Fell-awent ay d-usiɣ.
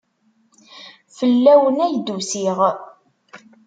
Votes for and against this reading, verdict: 1, 2, rejected